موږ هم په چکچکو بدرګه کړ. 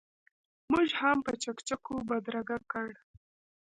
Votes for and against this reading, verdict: 2, 0, accepted